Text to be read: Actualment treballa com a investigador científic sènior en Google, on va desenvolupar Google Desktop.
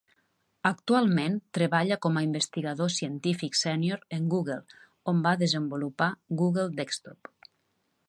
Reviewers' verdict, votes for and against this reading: accepted, 3, 0